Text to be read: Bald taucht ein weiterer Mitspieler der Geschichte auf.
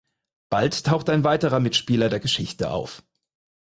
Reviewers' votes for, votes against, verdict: 4, 0, accepted